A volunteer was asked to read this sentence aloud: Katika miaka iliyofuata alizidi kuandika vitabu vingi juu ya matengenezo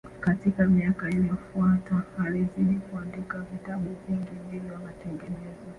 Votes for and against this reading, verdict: 1, 3, rejected